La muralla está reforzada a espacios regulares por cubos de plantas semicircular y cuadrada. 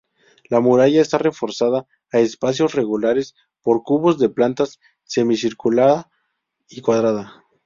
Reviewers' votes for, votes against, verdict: 4, 0, accepted